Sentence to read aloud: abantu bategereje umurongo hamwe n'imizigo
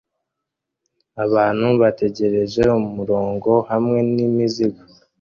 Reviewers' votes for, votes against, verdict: 2, 0, accepted